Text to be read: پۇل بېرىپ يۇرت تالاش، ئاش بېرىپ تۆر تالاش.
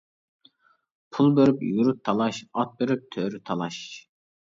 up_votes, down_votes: 0, 2